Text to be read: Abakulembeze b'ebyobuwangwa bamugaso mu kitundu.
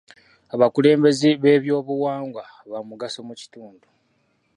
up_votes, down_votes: 2, 0